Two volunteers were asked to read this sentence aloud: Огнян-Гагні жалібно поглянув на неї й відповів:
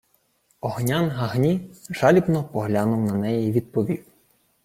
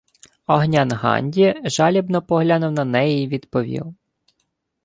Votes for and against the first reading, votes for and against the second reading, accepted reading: 2, 0, 0, 2, first